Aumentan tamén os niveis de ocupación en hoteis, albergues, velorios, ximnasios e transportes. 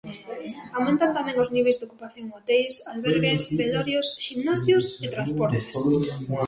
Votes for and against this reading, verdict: 4, 1, accepted